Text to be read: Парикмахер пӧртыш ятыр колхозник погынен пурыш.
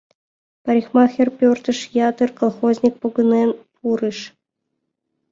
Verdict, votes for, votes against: accepted, 2, 0